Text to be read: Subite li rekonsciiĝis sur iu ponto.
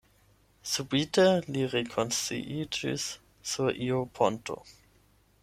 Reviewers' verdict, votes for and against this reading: accepted, 8, 0